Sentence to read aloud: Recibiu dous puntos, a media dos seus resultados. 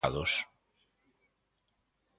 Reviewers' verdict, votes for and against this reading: rejected, 0, 2